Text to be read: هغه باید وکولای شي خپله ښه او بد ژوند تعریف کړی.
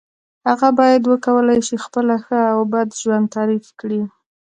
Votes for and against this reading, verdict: 2, 0, accepted